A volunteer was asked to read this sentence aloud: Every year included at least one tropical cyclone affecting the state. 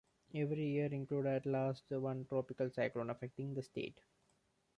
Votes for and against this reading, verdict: 2, 0, accepted